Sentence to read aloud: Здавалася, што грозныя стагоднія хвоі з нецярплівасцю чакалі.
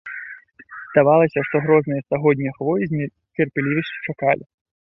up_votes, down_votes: 0, 2